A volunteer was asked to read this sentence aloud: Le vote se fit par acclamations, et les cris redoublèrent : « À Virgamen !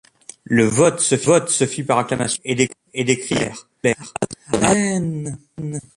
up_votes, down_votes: 0, 2